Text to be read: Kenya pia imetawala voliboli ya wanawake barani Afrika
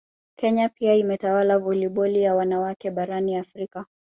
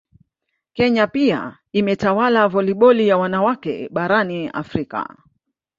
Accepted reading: second